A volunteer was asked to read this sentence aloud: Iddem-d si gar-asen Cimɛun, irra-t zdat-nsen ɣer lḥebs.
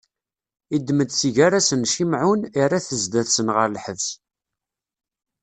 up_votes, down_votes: 2, 0